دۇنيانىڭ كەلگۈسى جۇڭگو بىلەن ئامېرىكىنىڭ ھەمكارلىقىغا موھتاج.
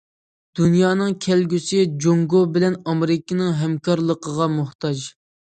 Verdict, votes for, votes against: accepted, 2, 0